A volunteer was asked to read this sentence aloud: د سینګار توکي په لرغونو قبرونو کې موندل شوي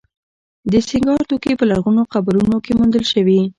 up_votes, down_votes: 0, 2